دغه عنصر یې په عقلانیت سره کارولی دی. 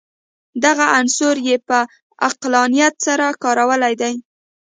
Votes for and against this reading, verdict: 0, 2, rejected